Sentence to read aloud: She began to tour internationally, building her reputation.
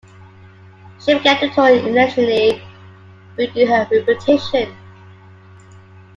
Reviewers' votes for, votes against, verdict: 0, 2, rejected